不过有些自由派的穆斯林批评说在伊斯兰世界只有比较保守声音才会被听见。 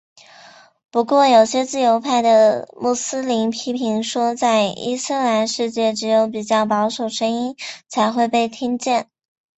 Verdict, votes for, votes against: accepted, 2, 0